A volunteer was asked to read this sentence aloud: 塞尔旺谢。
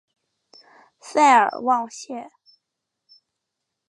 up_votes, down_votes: 4, 0